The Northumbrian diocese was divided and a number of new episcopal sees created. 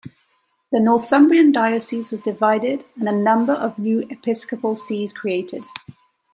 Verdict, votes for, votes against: accepted, 2, 0